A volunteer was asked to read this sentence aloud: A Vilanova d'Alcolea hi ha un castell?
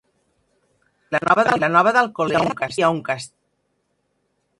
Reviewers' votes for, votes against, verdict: 2, 6, rejected